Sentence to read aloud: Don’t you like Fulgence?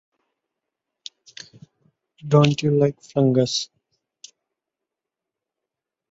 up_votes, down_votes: 0, 2